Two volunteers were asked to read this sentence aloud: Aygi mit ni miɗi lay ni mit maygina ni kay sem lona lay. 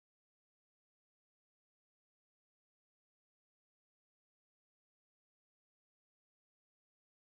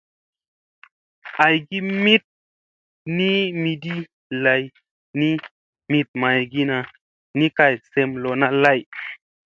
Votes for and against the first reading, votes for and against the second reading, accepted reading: 0, 2, 2, 0, second